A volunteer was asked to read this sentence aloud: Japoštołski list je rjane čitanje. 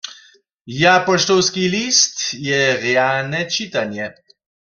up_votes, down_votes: 0, 2